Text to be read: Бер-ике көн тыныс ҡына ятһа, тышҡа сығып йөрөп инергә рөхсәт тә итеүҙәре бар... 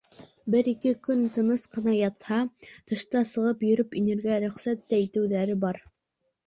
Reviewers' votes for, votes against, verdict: 2, 0, accepted